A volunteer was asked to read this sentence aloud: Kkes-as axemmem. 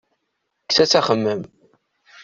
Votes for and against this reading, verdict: 2, 0, accepted